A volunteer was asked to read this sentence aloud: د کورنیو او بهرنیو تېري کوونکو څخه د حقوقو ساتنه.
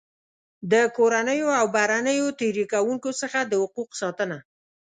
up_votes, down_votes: 2, 0